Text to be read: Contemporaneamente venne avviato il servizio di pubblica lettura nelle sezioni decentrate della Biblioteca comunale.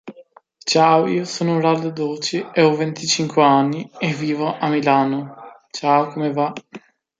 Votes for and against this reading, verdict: 0, 2, rejected